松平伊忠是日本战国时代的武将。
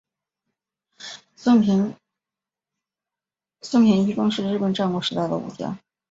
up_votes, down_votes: 1, 2